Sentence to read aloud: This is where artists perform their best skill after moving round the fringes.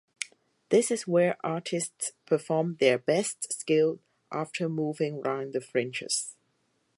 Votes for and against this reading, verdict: 4, 0, accepted